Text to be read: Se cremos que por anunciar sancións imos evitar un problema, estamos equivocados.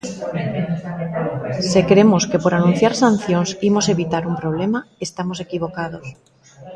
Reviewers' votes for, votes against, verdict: 0, 2, rejected